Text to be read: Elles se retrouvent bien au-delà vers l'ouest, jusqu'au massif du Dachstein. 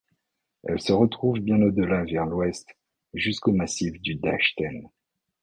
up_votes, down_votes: 1, 2